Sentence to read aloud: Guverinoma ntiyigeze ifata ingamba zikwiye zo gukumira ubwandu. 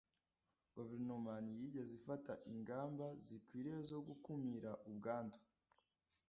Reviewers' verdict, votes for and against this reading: accepted, 2, 0